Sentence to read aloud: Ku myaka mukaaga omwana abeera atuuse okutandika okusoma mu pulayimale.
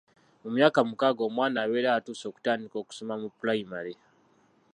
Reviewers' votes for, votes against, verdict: 0, 2, rejected